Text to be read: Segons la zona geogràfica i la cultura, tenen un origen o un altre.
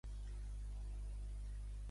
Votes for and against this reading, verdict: 1, 2, rejected